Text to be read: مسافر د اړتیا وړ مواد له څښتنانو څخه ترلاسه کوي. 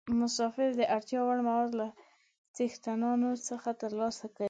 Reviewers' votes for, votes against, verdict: 1, 2, rejected